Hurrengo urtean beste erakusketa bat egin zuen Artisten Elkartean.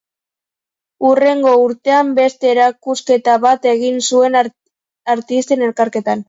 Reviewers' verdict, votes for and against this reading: rejected, 0, 2